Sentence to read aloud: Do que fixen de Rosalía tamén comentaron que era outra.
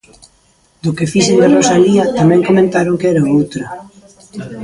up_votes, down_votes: 0, 2